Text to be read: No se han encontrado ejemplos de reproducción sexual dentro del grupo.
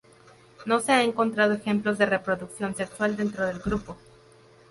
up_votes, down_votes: 0, 4